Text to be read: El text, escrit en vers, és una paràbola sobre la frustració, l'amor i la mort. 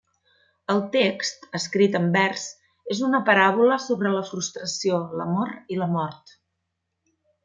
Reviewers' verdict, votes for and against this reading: accepted, 2, 0